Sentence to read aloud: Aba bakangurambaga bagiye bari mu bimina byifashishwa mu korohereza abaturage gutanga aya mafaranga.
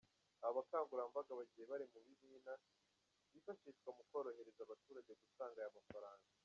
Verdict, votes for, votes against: rejected, 0, 2